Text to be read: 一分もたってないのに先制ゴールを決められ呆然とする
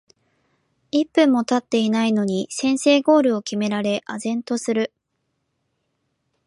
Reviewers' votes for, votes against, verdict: 3, 0, accepted